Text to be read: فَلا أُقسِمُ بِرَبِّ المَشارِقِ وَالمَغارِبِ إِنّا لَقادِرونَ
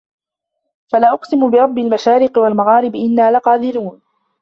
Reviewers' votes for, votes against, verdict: 1, 2, rejected